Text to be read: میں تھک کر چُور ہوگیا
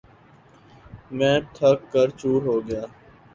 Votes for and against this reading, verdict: 2, 0, accepted